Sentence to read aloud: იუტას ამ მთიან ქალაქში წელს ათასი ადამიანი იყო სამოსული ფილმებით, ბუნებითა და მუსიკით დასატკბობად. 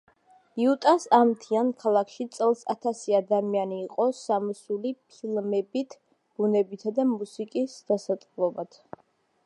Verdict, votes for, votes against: rejected, 0, 2